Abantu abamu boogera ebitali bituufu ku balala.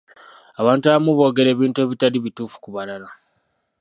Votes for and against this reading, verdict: 0, 2, rejected